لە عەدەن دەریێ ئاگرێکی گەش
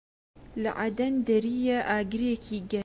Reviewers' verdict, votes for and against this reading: accepted, 2, 1